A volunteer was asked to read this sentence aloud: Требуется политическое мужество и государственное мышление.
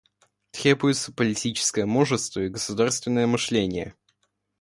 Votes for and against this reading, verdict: 1, 2, rejected